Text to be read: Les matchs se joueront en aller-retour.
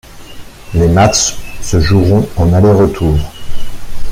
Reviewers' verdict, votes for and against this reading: rejected, 1, 2